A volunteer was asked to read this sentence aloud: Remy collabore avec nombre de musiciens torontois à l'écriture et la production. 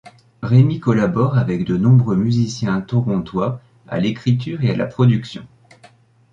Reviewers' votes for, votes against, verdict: 1, 2, rejected